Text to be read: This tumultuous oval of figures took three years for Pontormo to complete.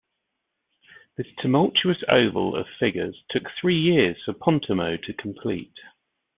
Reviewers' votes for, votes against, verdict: 2, 0, accepted